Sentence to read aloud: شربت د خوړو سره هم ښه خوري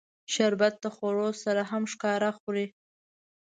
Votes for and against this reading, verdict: 1, 2, rejected